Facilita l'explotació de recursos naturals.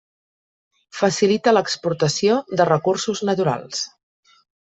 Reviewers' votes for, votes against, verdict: 0, 2, rejected